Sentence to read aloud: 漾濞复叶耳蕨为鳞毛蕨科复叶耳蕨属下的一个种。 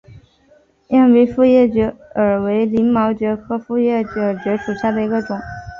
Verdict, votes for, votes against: accepted, 3, 1